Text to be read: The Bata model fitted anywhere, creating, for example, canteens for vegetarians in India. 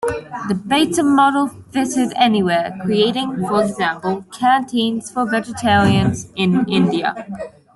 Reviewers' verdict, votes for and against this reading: accepted, 2, 0